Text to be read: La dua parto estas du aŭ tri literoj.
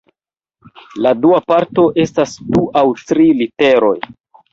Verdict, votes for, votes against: rejected, 0, 2